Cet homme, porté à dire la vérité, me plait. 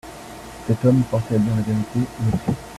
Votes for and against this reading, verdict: 0, 2, rejected